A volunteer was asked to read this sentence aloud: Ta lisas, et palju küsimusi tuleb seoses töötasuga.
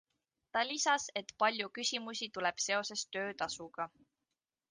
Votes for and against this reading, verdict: 2, 0, accepted